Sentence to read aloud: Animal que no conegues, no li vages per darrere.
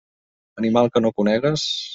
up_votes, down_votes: 0, 2